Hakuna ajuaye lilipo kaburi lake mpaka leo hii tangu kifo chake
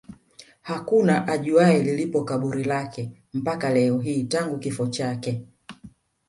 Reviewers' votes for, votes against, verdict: 2, 1, accepted